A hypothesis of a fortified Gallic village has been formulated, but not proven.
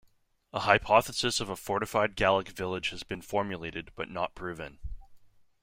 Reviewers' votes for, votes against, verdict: 2, 0, accepted